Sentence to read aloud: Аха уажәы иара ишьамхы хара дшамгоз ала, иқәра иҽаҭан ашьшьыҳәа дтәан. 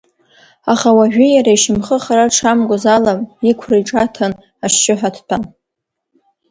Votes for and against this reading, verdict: 1, 2, rejected